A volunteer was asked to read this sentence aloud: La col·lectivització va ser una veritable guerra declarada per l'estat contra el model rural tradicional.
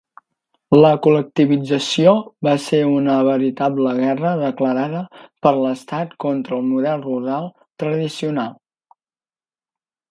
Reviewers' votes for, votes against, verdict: 3, 0, accepted